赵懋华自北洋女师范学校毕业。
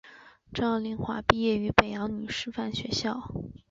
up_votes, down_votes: 2, 3